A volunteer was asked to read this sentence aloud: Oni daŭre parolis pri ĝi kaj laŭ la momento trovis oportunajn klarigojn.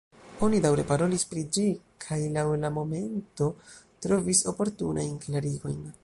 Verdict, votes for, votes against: rejected, 0, 2